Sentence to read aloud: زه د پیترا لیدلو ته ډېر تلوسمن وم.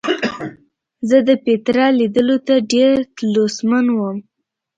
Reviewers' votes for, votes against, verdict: 0, 2, rejected